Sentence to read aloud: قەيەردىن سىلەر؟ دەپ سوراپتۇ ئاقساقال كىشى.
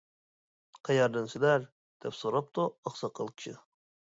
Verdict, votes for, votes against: accepted, 2, 0